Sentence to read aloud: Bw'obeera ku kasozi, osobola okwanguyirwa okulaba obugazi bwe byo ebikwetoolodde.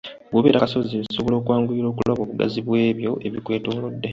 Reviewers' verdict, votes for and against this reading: accepted, 2, 1